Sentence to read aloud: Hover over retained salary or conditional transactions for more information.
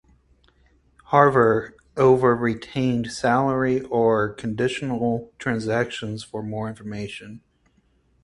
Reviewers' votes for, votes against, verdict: 2, 2, rejected